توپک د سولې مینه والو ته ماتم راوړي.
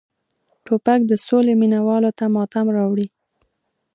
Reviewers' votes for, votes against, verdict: 2, 0, accepted